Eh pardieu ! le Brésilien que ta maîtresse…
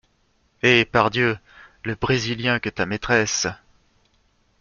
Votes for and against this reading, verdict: 2, 1, accepted